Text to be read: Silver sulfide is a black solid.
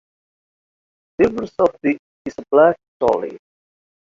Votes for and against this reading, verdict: 1, 2, rejected